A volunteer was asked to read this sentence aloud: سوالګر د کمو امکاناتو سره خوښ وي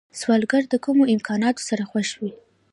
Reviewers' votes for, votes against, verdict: 2, 0, accepted